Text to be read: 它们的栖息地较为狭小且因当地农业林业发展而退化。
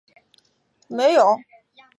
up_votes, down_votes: 0, 5